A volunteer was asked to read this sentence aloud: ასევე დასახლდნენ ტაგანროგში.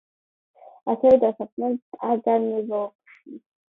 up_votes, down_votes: 1, 2